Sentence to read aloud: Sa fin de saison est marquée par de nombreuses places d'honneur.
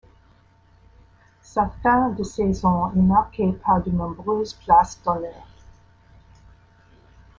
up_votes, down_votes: 2, 1